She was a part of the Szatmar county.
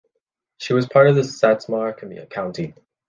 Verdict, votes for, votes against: rejected, 1, 2